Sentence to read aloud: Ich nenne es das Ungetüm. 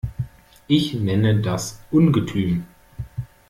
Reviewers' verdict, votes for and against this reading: rejected, 0, 2